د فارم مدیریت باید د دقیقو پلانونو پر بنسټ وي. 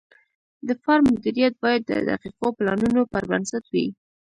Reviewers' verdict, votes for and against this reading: accepted, 2, 0